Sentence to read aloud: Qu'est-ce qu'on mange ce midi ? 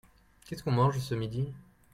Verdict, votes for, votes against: accepted, 2, 0